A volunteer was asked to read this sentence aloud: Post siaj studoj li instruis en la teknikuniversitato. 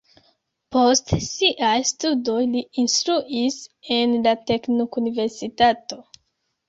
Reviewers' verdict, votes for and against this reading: rejected, 0, 2